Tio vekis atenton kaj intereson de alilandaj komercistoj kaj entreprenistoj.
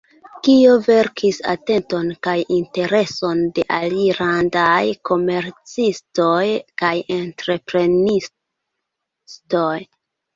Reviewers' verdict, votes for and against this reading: rejected, 0, 2